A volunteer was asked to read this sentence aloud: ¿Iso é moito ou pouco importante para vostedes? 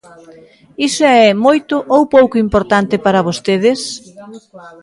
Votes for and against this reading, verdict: 1, 2, rejected